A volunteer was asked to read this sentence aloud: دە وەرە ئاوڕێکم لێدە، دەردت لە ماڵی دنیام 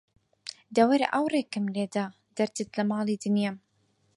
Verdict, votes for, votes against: accepted, 6, 0